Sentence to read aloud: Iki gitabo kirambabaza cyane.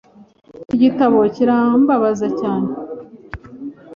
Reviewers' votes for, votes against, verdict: 2, 0, accepted